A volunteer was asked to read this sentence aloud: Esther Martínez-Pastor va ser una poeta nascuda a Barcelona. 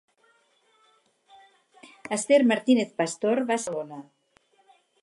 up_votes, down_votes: 0, 4